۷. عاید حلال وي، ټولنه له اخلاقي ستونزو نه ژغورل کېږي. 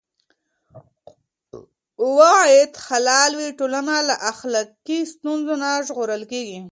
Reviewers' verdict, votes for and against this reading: rejected, 0, 2